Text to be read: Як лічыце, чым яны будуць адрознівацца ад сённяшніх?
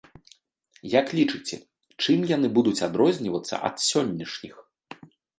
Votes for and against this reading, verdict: 2, 0, accepted